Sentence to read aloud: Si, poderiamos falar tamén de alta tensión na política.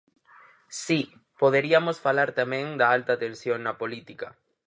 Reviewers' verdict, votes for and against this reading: rejected, 2, 4